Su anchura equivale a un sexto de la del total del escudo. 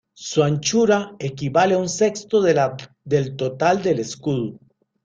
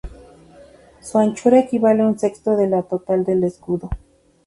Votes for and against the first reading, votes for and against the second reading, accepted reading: 0, 2, 8, 0, second